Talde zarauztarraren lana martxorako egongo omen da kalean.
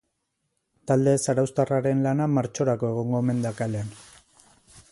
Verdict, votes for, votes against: accepted, 4, 0